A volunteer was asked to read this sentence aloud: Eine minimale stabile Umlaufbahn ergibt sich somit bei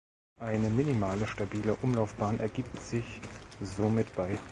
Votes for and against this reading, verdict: 2, 0, accepted